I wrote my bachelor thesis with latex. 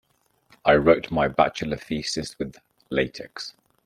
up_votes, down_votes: 2, 1